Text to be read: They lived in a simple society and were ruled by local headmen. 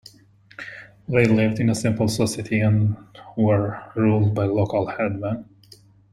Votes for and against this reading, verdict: 0, 2, rejected